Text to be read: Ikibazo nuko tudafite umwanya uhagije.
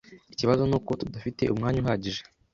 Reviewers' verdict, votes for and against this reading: accepted, 2, 0